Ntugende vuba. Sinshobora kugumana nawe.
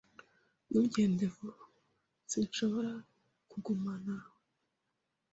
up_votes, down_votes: 0, 2